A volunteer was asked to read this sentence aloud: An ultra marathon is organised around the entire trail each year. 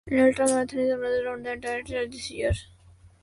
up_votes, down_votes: 0, 2